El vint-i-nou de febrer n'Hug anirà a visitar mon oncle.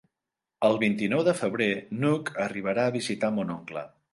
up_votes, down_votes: 0, 3